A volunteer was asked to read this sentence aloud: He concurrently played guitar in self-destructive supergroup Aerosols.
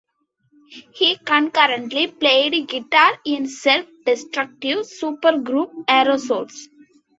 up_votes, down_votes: 2, 0